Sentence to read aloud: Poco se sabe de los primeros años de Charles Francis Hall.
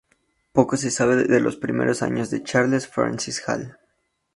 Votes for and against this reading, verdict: 2, 0, accepted